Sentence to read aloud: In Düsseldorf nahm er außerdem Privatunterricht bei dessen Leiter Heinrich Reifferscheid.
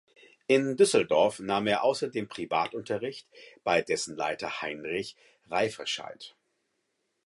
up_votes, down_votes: 4, 0